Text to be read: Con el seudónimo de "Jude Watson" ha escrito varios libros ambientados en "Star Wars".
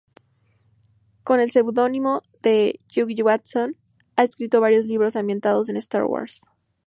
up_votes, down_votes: 2, 0